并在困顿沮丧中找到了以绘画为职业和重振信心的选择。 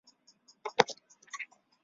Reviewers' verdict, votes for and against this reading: rejected, 0, 3